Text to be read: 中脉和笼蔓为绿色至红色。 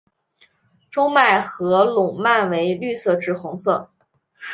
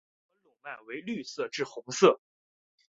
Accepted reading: first